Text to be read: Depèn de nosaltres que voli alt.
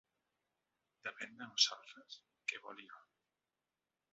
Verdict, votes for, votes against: accepted, 2, 1